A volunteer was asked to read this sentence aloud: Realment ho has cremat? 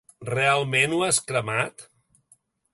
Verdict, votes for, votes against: accepted, 3, 0